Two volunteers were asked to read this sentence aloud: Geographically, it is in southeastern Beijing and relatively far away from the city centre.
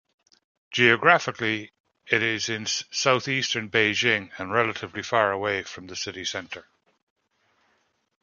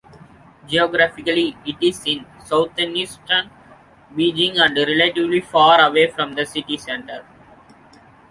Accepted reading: first